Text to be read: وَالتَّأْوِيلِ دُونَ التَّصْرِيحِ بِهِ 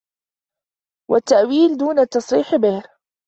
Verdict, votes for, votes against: accepted, 2, 0